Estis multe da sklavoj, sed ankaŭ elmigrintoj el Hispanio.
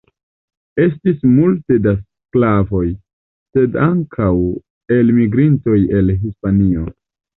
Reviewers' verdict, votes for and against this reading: accepted, 2, 0